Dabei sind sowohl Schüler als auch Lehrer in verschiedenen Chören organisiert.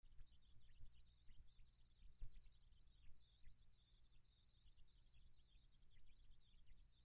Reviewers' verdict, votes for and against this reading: rejected, 0, 2